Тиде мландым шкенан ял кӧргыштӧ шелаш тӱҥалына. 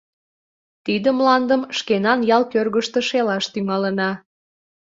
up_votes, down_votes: 2, 0